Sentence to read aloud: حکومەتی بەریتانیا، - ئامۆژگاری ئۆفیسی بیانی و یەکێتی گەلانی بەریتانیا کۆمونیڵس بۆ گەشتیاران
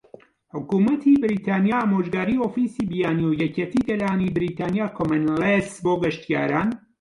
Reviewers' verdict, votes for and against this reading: accepted, 2, 1